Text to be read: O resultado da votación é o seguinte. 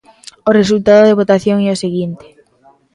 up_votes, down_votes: 0, 2